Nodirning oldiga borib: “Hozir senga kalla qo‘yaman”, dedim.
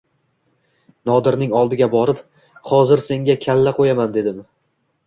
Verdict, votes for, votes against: accepted, 2, 0